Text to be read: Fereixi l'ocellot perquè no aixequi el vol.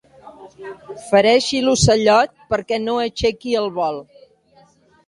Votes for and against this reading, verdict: 0, 2, rejected